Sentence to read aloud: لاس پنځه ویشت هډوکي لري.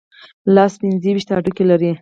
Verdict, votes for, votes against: accepted, 2, 0